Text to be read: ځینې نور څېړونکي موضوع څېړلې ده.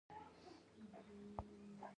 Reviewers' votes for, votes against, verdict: 1, 2, rejected